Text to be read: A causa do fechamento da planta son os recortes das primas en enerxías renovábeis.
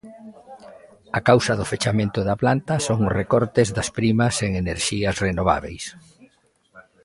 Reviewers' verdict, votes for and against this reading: accepted, 2, 0